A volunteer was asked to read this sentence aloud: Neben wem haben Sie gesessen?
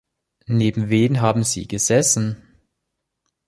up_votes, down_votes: 1, 2